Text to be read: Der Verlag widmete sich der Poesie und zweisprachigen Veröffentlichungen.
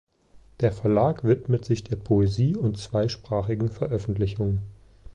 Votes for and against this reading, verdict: 0, 2, rejected